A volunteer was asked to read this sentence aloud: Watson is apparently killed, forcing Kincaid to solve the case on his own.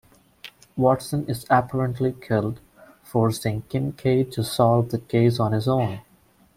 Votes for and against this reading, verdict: 1, 2, rejected